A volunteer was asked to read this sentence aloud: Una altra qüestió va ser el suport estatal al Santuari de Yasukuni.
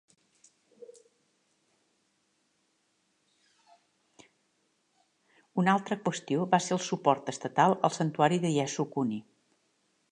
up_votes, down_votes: 2, 0